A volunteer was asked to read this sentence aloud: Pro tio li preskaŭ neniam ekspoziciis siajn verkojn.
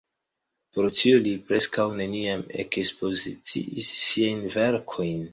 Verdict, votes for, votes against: accepted, 2, 0